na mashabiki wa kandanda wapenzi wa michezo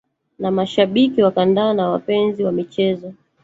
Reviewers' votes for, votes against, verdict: 1, 2, rejected